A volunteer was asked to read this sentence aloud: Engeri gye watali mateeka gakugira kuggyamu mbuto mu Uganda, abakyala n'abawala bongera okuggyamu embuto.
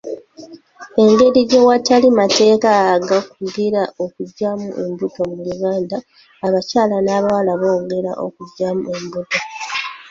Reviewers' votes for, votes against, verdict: 1, 2, rejected